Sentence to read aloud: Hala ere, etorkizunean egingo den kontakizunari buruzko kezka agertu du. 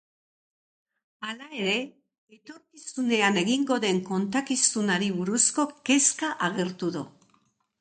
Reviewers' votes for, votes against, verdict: 1, 2, rejected